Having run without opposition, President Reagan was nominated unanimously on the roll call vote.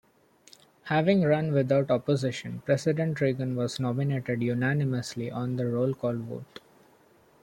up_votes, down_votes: 1, 2